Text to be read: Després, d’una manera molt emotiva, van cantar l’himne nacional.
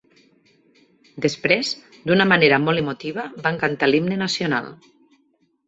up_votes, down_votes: 2, 0